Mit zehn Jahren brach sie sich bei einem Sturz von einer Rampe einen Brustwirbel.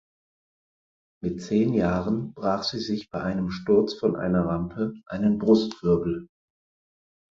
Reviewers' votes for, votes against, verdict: 4, 0, accepted